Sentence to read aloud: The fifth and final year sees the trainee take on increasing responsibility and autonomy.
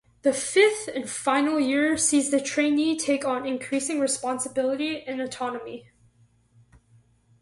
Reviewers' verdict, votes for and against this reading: accepted, 4, 0